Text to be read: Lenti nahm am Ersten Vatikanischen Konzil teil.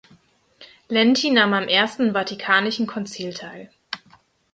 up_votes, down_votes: 2, 4